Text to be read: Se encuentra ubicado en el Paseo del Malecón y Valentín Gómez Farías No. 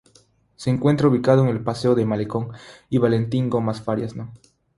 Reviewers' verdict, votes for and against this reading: rejected, 0, 3